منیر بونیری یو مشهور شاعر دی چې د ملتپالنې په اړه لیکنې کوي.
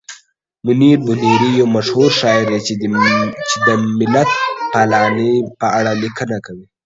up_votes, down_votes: 0, 2